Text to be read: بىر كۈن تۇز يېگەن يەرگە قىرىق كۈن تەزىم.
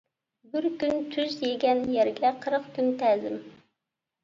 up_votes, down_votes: 2, 1